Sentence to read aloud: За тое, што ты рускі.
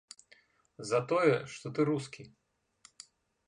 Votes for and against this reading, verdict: 2, 0, accepted